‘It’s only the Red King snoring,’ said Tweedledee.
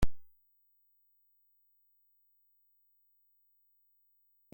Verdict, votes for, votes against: rejected, 0, 2